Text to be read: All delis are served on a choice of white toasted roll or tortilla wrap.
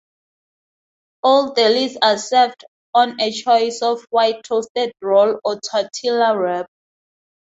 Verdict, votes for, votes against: accepted, 4, 0